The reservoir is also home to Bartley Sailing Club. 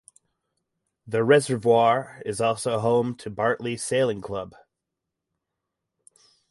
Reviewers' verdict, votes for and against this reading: accepted, 4, 0